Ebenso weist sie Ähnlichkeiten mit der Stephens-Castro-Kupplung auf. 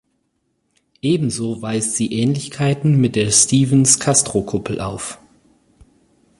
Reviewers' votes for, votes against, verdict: 2, 4, rejected